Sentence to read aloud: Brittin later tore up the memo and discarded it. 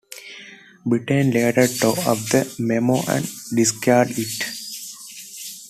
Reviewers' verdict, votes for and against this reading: accepted, 2, 1